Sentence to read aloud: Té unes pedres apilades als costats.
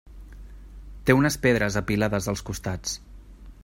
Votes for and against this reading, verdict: 2, 0, accepted